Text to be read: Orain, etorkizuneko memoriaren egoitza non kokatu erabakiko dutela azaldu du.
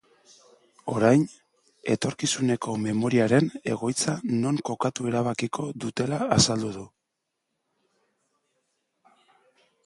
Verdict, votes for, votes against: accepted, 2, 1